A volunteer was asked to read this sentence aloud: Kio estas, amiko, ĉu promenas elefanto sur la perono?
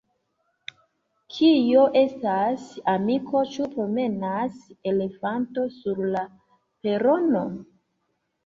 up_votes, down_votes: 2, 1